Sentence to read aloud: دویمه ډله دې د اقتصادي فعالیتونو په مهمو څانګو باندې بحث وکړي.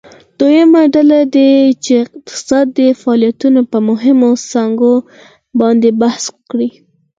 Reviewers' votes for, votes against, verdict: 4, 0, accepted